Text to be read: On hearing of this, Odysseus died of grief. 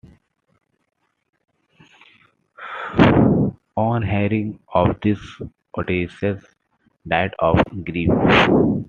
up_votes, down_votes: 0, 2